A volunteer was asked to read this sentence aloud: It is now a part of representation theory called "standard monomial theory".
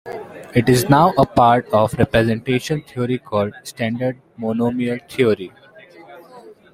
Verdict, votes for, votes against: accepted, 2, 0